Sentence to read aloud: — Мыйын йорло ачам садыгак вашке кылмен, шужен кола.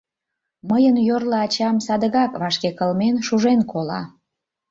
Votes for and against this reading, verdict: 2, 1, accepted